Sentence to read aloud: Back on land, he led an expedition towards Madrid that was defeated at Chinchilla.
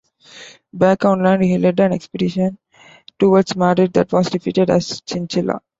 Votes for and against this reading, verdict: 0, 2, rejected